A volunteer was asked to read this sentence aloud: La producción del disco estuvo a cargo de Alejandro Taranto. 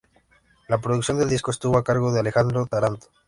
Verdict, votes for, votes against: accepted, 2, 0